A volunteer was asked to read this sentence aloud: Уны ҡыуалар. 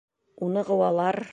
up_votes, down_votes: 2, 0